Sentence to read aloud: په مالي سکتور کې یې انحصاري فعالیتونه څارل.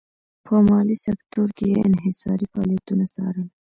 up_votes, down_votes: 2, 0